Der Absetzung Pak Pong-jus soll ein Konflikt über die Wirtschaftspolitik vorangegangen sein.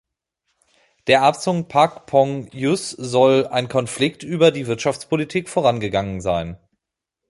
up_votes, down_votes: 1, 2